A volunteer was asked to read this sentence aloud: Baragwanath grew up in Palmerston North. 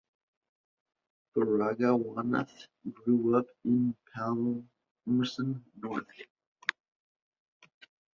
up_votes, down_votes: 0, 2